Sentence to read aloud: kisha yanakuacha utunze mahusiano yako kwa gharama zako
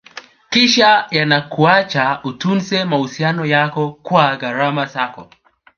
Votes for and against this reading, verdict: 2, 0, accepted